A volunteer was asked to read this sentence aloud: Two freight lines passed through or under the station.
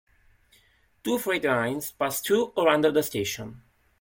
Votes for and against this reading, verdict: 2, 0, accepted